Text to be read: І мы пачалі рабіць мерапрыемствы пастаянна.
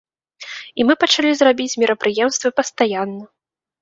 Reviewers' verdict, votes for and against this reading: rejected, 0, 2